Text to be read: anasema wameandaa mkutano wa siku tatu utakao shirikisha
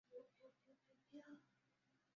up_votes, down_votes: 0, 2